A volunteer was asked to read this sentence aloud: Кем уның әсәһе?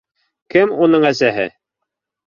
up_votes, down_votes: 2, 0